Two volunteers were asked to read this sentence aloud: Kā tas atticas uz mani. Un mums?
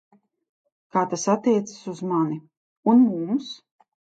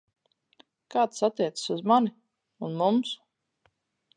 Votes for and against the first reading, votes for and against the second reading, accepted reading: 1, 2, 4, 2, second